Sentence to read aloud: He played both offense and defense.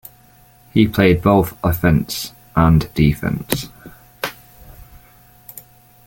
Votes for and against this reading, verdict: 2, 0, accepted